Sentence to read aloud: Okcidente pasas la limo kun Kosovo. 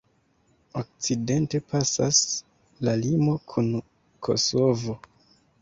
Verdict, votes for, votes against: accepted, 2, 0